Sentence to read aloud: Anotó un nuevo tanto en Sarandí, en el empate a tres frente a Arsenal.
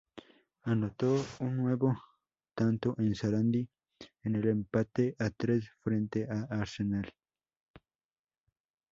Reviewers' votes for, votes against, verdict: 0, 2, rejected